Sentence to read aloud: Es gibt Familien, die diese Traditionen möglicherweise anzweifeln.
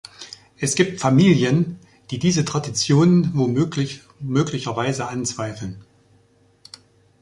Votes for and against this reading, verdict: 0, 2, rejected